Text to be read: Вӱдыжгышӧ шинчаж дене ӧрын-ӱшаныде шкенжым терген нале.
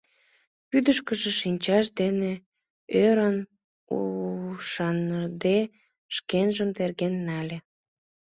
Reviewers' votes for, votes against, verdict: 0, 2, rejected